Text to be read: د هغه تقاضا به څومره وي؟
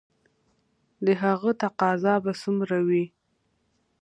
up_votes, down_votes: 2, 0